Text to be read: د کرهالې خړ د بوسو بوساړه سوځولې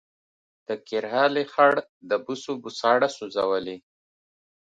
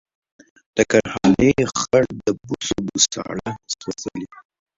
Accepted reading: first